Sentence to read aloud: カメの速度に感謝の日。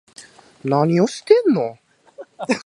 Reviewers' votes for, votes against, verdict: 0, 2, rejected